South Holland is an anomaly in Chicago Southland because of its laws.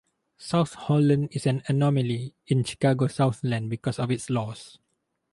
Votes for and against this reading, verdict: 4, 0, accepted